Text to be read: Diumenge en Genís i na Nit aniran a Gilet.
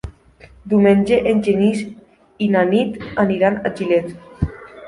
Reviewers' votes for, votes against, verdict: 3, 0, accepted